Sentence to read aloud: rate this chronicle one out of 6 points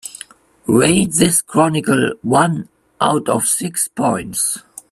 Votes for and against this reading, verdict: 0, 2, rejected